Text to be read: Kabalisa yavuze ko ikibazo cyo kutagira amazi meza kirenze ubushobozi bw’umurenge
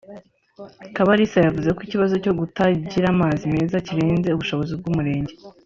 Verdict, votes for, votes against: rejected, 0, 2